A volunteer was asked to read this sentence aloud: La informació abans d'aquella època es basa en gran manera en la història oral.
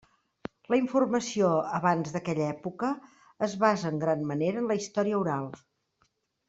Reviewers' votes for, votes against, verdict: 3, 0, accepted